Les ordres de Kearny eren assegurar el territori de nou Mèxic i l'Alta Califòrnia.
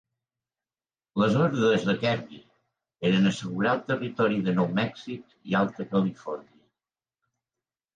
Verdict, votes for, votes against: rejected, 2, 3